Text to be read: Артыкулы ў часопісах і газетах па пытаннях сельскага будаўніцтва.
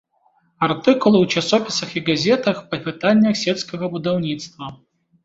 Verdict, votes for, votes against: rejected, 1, 2